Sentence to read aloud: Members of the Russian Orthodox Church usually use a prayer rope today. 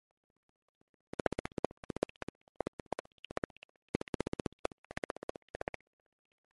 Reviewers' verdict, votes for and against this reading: rejected, 0, 2